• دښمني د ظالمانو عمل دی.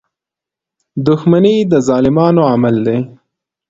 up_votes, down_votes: 2, 0